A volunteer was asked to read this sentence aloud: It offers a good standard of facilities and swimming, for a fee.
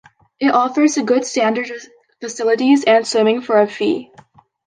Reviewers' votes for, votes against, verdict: 2, 1, accepted